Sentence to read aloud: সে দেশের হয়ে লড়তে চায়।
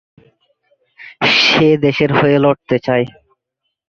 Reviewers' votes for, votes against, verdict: 2, 1, accepted